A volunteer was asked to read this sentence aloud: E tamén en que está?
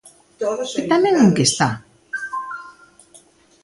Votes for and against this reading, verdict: 2, 1, accepted